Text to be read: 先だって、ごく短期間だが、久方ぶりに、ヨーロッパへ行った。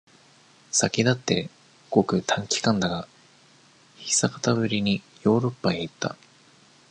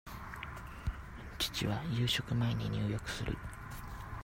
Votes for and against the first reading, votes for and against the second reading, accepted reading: 2, 1, 0, 2, first